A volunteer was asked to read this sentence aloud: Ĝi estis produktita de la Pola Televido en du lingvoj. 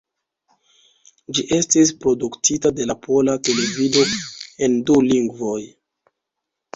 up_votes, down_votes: 2, 0